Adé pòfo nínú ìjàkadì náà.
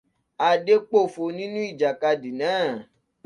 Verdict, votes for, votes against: accepted, 2, 0